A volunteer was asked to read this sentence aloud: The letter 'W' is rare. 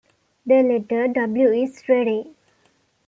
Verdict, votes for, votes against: rejected, 0, 2